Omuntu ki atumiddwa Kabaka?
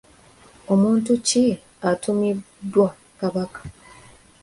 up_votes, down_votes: 2, 1